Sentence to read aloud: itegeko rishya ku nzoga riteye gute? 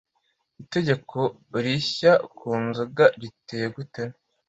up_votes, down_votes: 2, 1